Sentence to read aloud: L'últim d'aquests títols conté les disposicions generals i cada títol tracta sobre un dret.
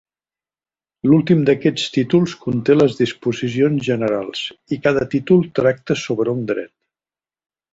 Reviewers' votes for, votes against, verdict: 2, 0, accepted